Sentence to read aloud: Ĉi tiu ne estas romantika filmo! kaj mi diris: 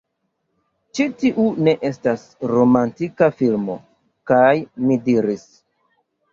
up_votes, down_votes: 2, 0